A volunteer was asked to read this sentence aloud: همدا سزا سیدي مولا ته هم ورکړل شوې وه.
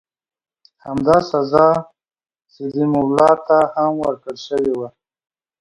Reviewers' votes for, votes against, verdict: 2, 0, accepted